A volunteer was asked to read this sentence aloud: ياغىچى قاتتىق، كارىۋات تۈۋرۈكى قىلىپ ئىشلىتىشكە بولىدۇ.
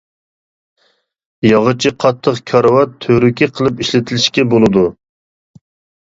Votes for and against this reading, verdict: 1, 2, rejected